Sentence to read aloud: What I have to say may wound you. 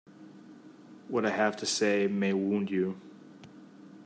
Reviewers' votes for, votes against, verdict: 2, 0, accepted